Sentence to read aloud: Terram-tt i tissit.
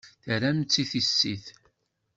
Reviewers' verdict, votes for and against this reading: accepted, 2, 0